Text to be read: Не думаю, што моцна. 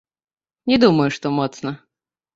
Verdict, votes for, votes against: rejected, 0, 2